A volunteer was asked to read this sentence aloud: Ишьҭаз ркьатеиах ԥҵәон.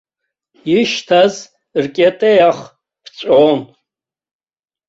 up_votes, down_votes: 2, 0